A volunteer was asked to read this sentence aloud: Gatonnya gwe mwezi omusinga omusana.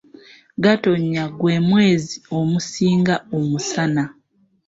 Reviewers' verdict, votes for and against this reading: accepted, 2, 1